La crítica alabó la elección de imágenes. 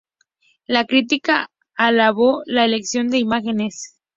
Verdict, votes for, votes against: accepted, 2, 0